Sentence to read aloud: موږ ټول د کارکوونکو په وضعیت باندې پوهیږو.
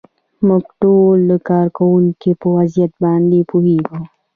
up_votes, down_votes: 1, 2